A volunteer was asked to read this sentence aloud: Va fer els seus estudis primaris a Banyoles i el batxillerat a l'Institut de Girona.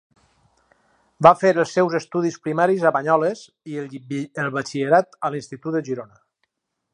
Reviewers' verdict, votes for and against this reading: rejected, 2, 4